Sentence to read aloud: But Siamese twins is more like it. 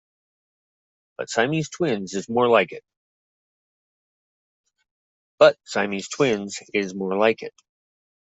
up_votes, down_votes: 2, 1